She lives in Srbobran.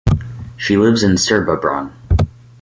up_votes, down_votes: 4, 0